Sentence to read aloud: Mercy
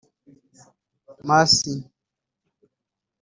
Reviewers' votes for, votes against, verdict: 0, 3, rejected